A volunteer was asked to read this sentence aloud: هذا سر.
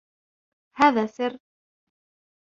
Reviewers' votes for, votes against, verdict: 2, 0, accepted